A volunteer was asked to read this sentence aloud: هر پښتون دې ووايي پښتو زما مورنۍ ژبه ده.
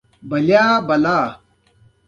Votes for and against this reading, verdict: 2, 1, accepted